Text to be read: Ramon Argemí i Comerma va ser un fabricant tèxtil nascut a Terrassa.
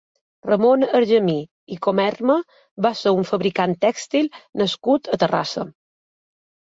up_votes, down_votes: 4, 0